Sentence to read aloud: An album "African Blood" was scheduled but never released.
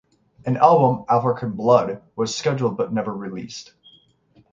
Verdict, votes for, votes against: accepted, 3, 0